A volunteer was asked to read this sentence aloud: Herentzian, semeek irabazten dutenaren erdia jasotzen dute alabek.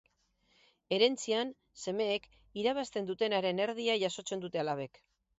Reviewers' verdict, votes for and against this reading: accepted, 4, 0